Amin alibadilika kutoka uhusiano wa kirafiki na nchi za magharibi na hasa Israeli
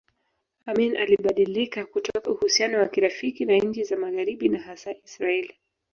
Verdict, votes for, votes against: rejected, 1, 2